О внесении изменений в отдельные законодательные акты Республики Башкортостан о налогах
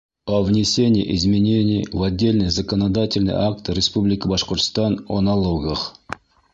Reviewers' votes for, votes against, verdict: 1, 2, rejected